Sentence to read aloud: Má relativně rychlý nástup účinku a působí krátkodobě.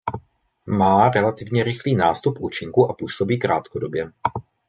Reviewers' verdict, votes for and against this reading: accepted, 2, 0